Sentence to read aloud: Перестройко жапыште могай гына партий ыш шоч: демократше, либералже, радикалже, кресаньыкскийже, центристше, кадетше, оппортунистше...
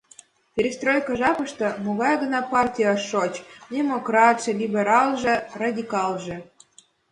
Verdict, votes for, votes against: rejected, 1, 2